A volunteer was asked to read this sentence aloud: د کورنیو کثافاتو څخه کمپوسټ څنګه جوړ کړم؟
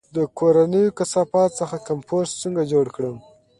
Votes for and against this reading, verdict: 2, 0, accepted